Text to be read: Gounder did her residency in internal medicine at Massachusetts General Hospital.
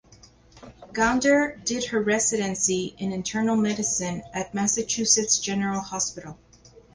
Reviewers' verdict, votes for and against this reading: accepted, 4, 0